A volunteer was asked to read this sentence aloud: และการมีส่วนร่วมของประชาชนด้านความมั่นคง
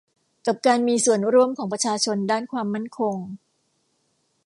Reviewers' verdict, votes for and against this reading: rejected, 0, 2